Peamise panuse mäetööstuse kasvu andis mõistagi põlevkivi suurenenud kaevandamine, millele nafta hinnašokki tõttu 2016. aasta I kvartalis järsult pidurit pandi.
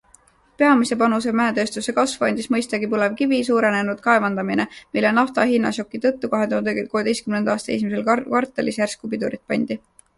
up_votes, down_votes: 0, 2